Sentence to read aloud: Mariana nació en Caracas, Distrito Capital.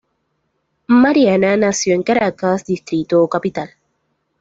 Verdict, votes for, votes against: accepted, 2, 0